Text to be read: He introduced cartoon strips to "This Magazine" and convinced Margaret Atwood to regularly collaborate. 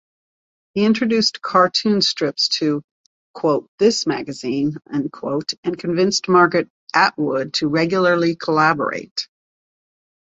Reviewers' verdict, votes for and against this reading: rejected, 1, 2